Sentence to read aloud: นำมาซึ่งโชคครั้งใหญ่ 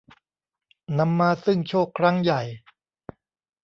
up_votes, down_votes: 2, 0